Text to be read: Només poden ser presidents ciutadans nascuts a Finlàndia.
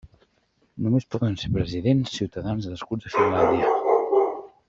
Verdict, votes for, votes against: rejected, 0, 2